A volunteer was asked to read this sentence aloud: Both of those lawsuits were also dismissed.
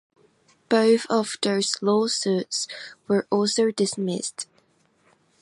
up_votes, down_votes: 2, 0